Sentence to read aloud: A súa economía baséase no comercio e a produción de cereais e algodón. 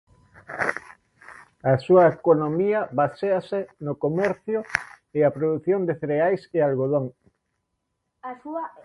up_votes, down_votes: 0, 2